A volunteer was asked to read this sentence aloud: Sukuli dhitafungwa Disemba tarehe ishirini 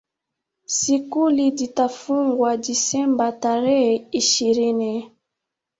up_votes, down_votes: 2, 1